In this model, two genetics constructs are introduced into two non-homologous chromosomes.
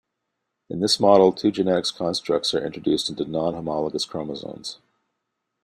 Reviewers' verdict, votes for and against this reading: rejected, 1, 2